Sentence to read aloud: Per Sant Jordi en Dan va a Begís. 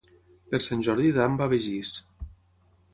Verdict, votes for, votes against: rejected, 0, 6